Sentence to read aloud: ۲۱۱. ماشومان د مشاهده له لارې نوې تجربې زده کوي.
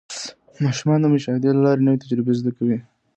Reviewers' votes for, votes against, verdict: 0, 2, rejected